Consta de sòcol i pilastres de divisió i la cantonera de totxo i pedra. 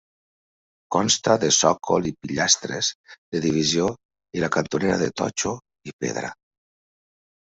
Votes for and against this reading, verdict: 2, 0, accepted